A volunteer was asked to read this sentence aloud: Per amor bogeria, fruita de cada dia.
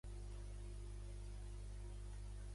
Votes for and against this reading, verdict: 0, 2, rejected